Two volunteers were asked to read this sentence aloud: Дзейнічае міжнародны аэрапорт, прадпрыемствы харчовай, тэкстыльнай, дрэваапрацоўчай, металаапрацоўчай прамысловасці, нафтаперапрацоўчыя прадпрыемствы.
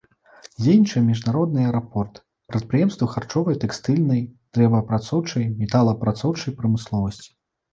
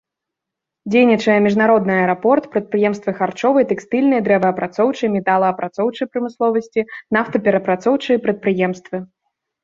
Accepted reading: second